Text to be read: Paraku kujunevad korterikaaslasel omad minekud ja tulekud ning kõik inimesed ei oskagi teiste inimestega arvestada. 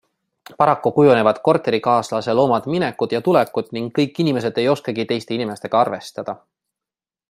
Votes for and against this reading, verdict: 2, 0, accepted